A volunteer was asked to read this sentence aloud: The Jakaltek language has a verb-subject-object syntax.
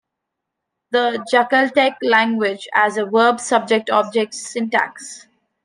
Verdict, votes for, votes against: accepted, 2, 0